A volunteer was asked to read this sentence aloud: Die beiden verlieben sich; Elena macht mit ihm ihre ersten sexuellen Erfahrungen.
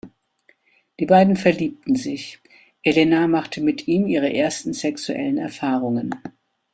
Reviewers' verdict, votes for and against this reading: rejected, 1, 2